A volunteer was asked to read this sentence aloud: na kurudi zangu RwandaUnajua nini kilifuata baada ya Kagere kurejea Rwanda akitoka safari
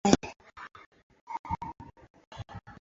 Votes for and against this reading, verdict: 0, 2, rejected